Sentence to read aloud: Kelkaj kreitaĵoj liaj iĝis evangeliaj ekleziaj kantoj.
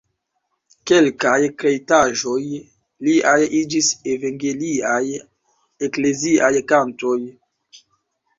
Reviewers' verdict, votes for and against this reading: rejected, 1, 3